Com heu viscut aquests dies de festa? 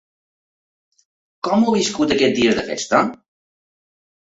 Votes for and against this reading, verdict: 2, 1, accepted